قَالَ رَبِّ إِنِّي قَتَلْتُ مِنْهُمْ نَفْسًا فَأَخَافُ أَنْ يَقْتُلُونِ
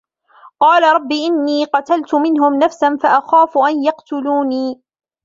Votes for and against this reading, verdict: 2, 1, accepted